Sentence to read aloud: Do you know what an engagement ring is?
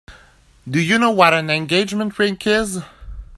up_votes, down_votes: 0, 2